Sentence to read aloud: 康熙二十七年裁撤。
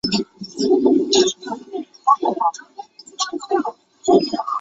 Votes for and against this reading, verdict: 1, 9, rejected